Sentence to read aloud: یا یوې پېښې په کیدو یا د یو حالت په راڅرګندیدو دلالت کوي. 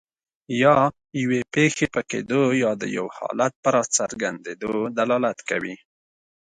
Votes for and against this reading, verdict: 2, 0, accepted